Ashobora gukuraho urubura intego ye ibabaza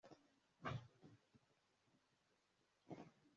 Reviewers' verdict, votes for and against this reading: rejected, 0, 2